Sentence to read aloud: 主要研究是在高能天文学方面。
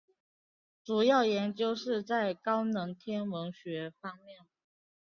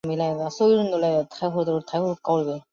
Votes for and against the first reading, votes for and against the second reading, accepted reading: 6, 2, 0, 4, first